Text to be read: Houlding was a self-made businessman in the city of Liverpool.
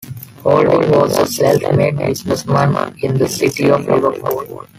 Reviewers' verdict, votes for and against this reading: rejected, 0, 2